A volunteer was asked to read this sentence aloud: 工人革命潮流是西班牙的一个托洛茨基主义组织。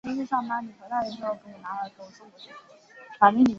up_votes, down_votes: 3, 1